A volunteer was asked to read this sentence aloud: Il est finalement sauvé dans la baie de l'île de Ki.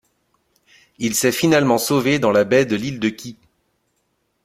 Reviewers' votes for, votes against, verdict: 0, 2, rejected